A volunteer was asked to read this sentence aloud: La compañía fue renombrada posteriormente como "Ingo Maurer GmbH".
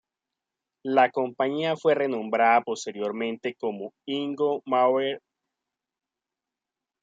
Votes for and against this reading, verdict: 0, 2, rejected